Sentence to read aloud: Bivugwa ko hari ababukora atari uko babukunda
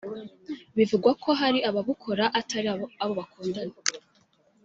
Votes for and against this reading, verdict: 0, 2, rejected